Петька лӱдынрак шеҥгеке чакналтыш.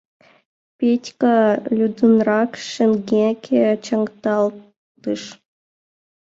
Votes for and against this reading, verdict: 0, 2, rejected